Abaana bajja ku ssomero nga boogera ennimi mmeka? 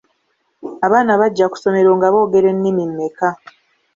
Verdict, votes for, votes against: accepted, 2, 0